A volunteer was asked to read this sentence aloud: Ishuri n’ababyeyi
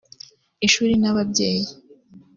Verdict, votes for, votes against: accepted, 2, 0